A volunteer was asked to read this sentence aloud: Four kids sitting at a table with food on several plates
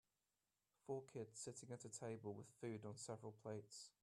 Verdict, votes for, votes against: accepted, 2, 0